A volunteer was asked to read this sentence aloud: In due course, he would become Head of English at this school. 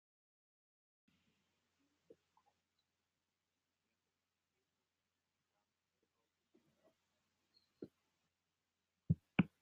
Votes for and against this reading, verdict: 0, 2, rejected